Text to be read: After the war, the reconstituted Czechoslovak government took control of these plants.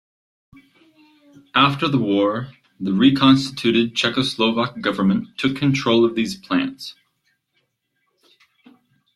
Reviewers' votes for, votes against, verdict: 0, 2, rejected